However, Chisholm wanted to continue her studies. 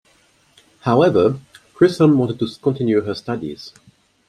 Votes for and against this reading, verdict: 2, 0, accepted